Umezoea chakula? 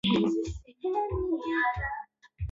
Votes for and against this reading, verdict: 0, 7, rejected